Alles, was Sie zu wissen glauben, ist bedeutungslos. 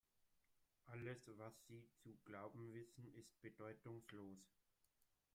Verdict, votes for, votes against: rejected, 0, 2